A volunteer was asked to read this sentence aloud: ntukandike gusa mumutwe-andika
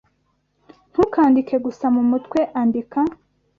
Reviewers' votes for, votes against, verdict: 2, 0, accepted